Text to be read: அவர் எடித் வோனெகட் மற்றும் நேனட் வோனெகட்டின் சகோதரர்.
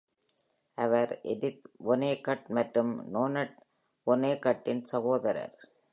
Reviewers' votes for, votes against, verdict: 0, 2, rejected